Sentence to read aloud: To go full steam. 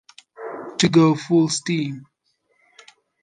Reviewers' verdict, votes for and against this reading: accepted, 2, 1